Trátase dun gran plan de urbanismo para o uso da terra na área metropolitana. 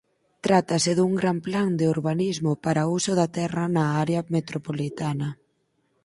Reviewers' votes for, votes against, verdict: 4, 0, accepted